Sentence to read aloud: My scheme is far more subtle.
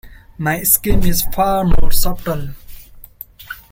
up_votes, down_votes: 2, 0